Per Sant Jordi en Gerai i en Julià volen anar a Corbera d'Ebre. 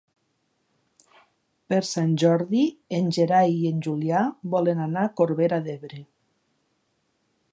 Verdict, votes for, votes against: accepted, 6, 0